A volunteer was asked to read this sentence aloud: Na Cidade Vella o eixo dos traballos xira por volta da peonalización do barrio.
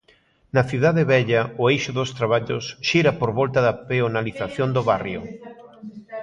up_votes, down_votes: 2, 1